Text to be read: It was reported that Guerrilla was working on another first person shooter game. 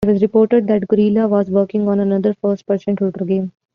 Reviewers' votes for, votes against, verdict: 1, 2, rejected